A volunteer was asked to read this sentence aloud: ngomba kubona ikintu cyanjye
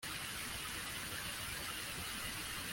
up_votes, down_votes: 0, 2